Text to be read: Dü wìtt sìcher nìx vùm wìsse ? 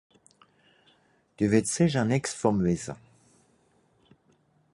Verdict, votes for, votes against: accepted, 4, 0